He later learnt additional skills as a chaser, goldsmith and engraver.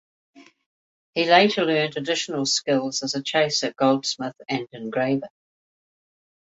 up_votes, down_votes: 2, 0